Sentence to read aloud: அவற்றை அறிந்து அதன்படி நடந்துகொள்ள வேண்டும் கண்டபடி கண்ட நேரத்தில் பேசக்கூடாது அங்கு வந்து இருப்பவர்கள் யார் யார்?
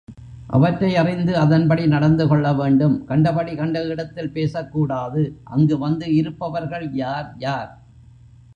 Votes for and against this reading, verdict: 1, 3, rejected